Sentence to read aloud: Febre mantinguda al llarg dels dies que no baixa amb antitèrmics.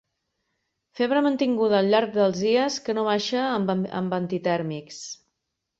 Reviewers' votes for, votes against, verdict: 1, 3, rejected